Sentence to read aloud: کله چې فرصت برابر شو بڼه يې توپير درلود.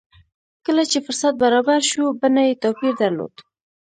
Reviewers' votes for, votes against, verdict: 0, 2, rejected